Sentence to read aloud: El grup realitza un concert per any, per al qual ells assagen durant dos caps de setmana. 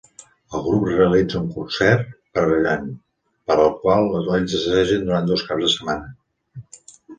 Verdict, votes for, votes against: rejected, 0, 2